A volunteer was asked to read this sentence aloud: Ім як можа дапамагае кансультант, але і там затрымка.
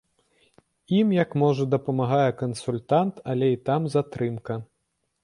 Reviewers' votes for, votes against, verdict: 2, 0, accepted